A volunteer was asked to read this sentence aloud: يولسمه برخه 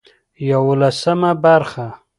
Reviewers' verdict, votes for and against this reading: accepted, 2, 0